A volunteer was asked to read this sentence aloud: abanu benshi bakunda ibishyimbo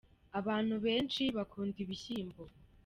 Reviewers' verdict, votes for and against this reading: accepted, 2, 0